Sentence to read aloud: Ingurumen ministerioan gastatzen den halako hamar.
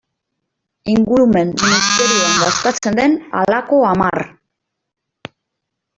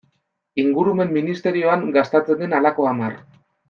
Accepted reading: second